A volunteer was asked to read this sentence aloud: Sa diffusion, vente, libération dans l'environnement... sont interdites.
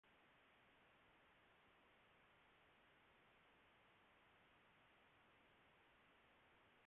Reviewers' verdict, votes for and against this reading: rejected, 1, 2